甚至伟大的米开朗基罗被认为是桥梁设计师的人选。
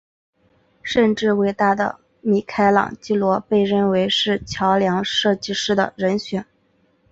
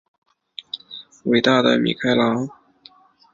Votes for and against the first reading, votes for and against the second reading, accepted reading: 2, 0, 1, 2, first